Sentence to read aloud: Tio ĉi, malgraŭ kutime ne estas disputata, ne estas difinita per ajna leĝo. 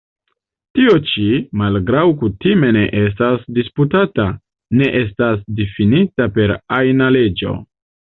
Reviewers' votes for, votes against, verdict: 1, 2, rejected